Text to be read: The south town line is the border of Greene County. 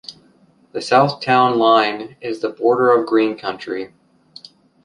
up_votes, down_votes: 1, 3